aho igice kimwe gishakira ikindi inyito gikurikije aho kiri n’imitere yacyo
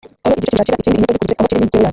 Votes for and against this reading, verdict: 1, 2, rejected